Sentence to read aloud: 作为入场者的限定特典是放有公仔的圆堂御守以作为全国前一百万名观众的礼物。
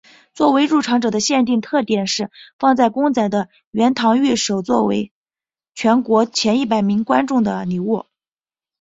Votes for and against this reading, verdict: 2, 0, accepted